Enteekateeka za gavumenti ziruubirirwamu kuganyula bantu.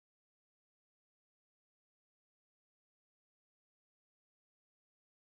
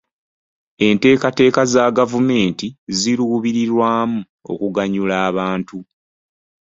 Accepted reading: second